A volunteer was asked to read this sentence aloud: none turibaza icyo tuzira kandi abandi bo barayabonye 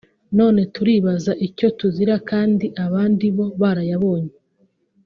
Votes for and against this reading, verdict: 2, 0, accepted